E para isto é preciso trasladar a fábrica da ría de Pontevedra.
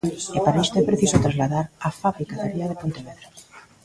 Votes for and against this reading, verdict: 2, 1, accepted